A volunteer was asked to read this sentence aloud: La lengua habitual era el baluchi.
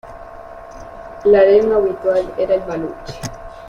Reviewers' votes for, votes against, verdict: 2, 1, accepted